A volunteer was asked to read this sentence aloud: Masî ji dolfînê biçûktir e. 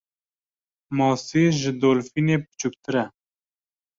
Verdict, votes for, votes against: accepted, 2, 0